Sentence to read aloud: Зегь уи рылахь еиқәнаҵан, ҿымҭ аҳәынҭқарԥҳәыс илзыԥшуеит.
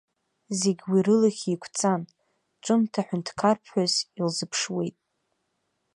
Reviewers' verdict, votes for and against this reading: rejected, 1, 2